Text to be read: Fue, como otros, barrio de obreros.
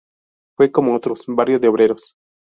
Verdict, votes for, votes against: accepted, 2, 0